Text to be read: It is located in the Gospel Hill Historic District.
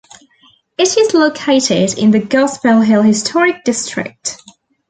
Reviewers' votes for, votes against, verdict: 2, 0, accepted